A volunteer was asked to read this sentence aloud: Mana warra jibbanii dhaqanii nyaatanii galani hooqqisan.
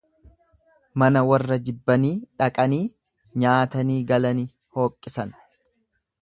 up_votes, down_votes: 2, 0